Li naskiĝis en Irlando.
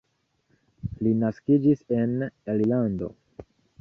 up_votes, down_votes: 1, 2